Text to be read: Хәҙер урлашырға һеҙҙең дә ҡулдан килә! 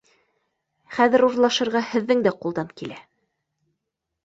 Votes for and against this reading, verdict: 2, 0, accepted